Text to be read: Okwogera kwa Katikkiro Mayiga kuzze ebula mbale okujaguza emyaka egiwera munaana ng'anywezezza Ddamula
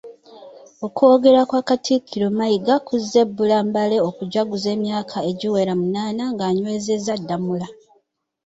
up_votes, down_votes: 1, 2